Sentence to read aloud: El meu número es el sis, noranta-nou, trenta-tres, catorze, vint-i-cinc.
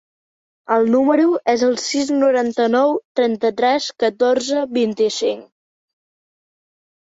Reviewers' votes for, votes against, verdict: 1, 3, rejected